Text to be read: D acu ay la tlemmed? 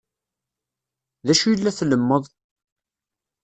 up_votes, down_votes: 1, 2